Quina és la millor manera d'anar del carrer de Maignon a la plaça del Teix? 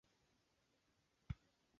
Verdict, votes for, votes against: rejected, 0, 5